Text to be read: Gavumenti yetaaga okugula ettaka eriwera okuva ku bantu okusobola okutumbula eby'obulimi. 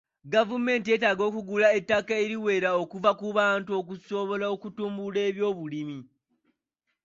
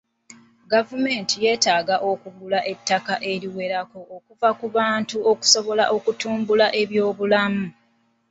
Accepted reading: first